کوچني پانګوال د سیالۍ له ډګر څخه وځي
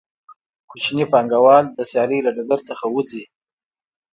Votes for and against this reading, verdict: 2, 0, accepted